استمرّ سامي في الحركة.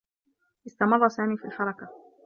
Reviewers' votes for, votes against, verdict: 0, 2, rejected